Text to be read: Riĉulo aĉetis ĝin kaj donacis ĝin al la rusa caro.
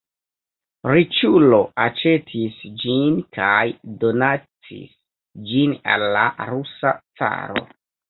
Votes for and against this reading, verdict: 1, 2, rejected